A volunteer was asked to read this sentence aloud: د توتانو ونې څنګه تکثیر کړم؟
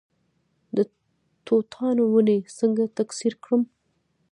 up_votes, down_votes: 0, 2